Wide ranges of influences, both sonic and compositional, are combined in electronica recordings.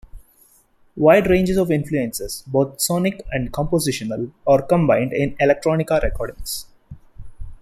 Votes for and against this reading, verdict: 2, 0, accepted